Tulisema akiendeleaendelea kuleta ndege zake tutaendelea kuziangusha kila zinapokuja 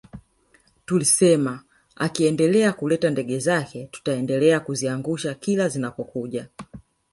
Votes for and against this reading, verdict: 2, 0, accepted